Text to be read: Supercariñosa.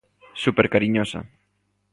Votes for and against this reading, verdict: 2, 0, accepted